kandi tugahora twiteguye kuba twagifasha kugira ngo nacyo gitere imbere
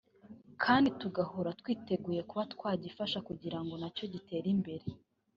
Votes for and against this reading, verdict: 2, 0, accepted